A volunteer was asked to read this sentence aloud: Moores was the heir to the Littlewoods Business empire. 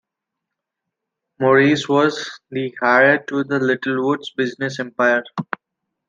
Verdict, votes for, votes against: rejected, 0, 2